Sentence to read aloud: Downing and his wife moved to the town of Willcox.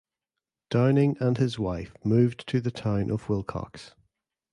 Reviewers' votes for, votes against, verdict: 0, 2, rejected